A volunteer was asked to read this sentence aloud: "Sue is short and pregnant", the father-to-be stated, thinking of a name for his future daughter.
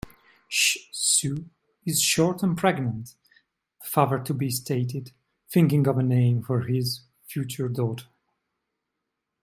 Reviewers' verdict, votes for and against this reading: rejected, 1, 2